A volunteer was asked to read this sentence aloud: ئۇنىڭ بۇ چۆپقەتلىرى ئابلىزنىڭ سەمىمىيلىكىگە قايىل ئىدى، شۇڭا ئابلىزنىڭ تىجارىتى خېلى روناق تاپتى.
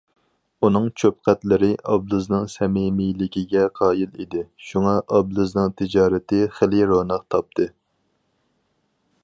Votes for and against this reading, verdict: 2, 2, rejected